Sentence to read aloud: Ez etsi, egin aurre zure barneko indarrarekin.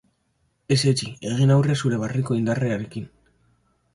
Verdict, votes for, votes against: accepted, 3, 0